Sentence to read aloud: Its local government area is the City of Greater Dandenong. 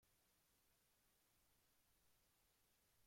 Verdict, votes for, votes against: rejected, 0, 2